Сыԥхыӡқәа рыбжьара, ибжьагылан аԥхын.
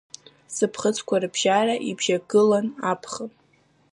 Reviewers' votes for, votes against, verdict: 2, 0, accepted